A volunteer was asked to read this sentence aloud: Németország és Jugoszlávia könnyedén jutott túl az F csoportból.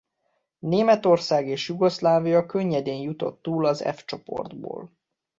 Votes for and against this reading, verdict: 2, 0, accepted